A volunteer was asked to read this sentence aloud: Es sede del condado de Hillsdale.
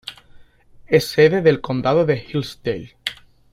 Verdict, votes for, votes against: accepted, 2, 0